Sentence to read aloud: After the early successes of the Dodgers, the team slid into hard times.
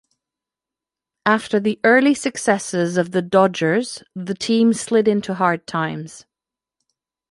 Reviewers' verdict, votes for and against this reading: accepted, 2, 1